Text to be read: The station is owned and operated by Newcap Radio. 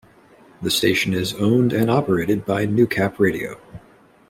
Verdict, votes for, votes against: accepted, 2, 0